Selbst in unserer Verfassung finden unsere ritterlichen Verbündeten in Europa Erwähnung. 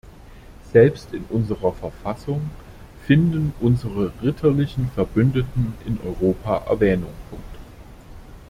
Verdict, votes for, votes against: rejected, 1, 2